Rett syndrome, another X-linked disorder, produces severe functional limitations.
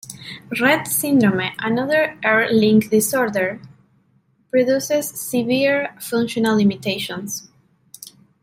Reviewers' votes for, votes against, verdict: 2, 0, accepted